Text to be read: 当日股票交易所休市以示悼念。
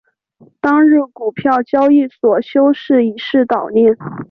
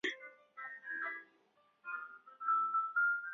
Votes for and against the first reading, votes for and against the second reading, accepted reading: 2, 0, 1, 3, first